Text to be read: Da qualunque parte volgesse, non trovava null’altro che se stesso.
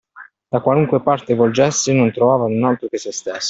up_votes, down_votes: 2, 0